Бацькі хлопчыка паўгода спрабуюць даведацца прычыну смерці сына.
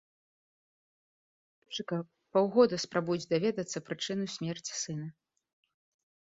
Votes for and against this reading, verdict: 1, 2, rejected